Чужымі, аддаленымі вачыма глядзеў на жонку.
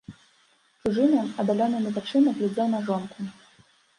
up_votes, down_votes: 0, 2